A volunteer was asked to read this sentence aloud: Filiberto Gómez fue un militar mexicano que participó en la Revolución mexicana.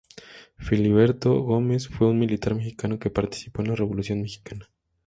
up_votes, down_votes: 2, 0